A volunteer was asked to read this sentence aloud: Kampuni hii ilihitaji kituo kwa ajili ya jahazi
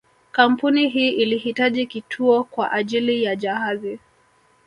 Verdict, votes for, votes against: rejected, 1, 2